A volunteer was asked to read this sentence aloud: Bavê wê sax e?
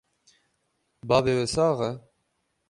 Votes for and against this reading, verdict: 12, 0, accepted